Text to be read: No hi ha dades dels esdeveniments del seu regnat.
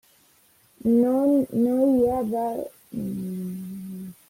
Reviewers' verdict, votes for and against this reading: rejected, 0, 2